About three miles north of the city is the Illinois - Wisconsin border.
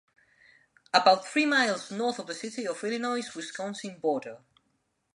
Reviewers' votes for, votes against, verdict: 2, 0, accepted